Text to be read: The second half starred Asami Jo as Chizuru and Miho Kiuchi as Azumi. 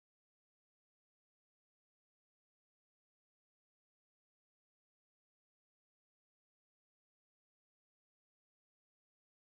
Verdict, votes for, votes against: rejected, 0, 4